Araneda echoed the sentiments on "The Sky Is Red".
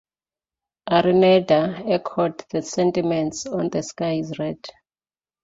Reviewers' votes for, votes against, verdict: 2, 0, accepted